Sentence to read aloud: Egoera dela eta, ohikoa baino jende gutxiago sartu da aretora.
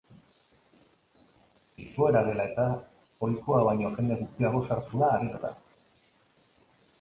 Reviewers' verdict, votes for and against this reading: accepted, 2, 0